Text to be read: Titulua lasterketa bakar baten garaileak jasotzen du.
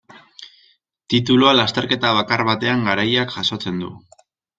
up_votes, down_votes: 0, 2